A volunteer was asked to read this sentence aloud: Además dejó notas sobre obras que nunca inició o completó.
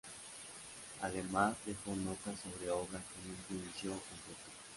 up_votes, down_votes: 2, 0